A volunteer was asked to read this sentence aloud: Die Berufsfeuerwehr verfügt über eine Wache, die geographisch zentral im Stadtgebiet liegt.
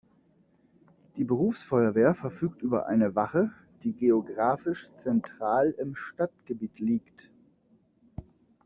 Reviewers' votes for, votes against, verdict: 2, 0, accepted